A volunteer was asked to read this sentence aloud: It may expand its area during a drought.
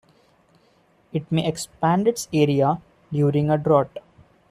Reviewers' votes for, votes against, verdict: 0, 2, rejected